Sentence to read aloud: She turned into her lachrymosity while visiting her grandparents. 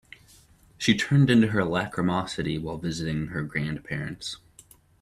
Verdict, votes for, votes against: accepted, 2, 0